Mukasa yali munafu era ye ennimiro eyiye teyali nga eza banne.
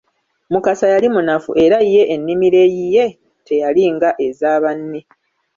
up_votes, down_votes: 2, 0